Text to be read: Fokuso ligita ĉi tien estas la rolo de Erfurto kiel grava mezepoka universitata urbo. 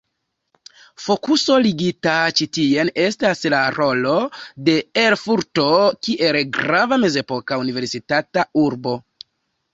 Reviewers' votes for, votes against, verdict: 2, 0, accepted